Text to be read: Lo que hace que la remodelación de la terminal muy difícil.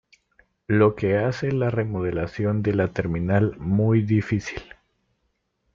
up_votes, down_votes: 0, 2